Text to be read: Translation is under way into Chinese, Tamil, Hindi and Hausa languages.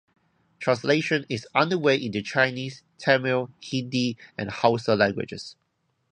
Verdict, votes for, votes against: rejected, 0, 2